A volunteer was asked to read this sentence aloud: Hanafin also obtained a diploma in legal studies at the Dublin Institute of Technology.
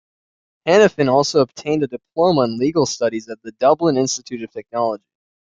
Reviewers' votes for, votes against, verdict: 2, 0, accepted